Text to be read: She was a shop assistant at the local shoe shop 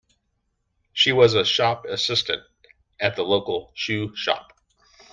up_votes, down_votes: 2, 0